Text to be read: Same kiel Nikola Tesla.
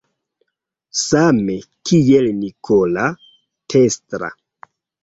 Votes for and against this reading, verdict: 2, 0, accepted